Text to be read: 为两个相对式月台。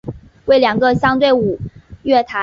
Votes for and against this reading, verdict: 2, 3, rejected